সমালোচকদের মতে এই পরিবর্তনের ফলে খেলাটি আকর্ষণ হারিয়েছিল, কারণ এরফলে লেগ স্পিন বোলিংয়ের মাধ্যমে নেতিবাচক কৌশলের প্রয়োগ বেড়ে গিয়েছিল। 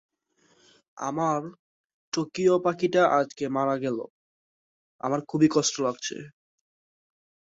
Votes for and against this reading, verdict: 0, 6, rejected